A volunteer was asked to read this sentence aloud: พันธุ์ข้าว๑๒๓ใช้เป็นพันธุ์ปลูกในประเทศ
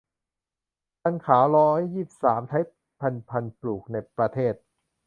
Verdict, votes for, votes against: rejected, 0, 2